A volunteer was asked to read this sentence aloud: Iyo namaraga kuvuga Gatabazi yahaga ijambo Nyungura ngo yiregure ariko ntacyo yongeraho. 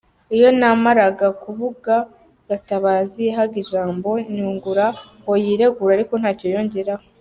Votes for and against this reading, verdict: 2, 0, accepted